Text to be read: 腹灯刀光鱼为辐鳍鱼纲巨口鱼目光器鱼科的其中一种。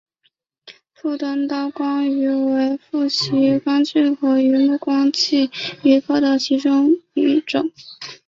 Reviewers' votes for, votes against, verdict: 3, 0, accepted